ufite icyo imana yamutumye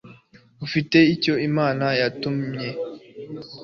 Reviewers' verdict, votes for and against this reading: accepted, 2, 0